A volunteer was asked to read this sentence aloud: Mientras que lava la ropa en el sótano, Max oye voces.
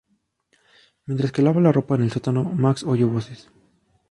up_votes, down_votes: 0, 2